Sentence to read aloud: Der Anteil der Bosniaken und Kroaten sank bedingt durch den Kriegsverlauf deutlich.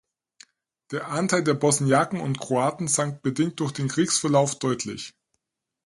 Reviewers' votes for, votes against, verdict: 4, 0, accepted